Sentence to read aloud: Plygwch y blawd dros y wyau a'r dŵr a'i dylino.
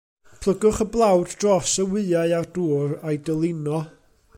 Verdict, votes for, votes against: accepted, 2, 0